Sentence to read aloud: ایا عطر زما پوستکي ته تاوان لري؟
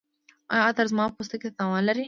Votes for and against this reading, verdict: 2, 0, accepted